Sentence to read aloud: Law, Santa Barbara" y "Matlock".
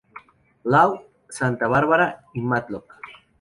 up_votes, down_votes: 0, 2